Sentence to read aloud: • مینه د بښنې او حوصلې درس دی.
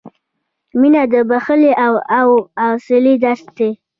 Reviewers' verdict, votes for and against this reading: rejected, 1, 2